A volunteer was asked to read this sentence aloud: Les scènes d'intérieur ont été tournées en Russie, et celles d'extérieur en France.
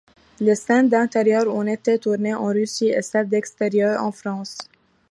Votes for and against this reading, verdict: 1, 2, rejected